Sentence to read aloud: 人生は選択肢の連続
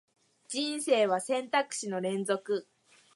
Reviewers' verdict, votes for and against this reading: accepted, 11, 0